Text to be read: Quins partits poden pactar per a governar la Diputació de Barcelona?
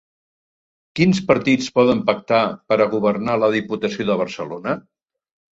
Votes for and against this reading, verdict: 3, 0, accepted